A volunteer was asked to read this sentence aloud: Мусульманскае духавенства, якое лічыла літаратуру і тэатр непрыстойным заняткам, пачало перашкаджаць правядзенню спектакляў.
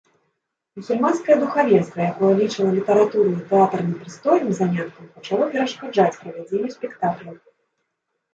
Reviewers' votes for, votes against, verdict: 0, 2, rejected